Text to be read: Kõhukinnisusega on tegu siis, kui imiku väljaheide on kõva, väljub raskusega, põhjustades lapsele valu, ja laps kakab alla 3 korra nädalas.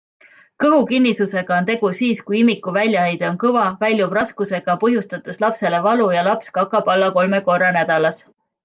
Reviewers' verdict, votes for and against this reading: rejected, 0, 2